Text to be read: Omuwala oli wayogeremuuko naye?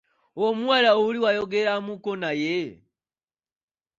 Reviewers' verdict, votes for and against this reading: accepted, 2, 0